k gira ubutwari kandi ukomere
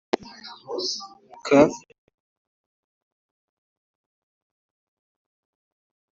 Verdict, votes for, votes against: rejected, 0, 2